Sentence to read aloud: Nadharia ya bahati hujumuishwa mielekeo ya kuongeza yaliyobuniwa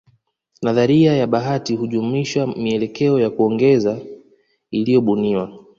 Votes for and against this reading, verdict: 2, 0, accepted